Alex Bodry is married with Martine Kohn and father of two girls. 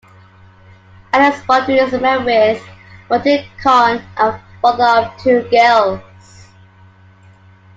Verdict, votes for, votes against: rejected, 0, 2